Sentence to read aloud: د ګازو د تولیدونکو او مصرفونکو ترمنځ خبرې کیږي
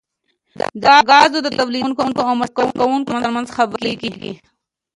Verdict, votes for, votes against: rejected, 1, 2